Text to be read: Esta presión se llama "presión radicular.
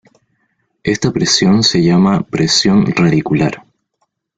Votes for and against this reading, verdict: 2, 1, accepted